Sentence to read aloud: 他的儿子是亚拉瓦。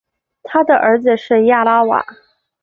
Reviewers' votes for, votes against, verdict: 3, 1, accepted